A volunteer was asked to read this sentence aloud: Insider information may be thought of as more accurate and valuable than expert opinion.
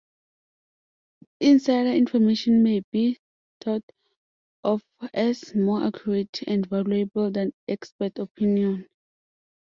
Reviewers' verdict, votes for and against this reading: rejected, 1, 2